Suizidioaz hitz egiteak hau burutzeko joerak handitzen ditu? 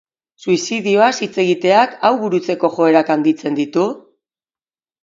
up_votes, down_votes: 2, 0